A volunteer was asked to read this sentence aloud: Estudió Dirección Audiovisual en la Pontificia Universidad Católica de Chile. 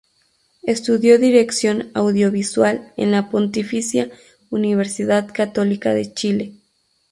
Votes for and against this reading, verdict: 2, 2, rejected